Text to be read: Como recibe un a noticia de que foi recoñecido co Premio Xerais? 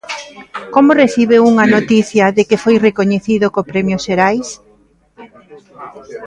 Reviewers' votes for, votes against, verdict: 2, 0, accepted